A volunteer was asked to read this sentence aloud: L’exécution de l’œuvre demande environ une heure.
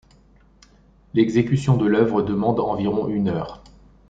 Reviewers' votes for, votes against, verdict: 3, 0, accepted